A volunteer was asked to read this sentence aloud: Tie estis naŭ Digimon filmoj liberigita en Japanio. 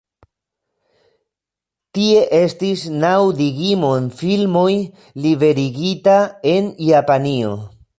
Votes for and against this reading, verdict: 1, 2, rejected